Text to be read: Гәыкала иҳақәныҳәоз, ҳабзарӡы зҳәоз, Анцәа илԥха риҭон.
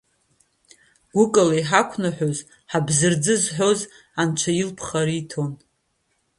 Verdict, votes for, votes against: accepted, 2, 0